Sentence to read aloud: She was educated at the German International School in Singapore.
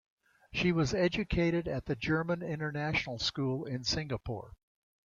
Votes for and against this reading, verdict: 2, 1, accepted